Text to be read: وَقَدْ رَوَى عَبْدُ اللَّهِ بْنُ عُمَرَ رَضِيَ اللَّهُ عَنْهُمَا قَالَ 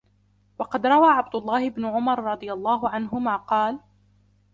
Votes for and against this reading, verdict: 2, 0, accepted